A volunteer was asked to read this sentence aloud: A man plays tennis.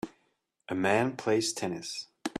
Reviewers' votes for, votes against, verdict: 2, 0, accepted